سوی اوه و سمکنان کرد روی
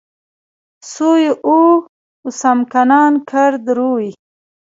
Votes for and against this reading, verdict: 2, 1, accepted